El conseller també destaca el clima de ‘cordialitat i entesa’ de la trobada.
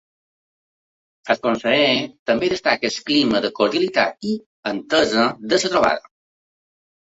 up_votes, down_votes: 0, 2